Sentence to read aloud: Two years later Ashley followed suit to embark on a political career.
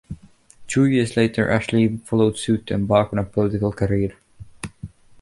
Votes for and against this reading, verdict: 2, 1, accepted